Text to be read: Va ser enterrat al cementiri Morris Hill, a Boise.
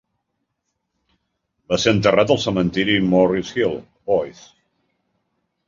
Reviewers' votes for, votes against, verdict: 0, 2, rejected